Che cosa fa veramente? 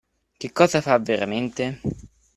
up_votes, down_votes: 2, 0